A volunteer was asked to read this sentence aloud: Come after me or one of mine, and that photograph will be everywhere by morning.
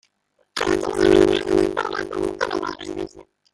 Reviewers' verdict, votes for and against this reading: rejected, 0, 2